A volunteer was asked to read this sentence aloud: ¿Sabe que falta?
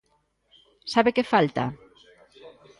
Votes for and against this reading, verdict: 1, 2, rejected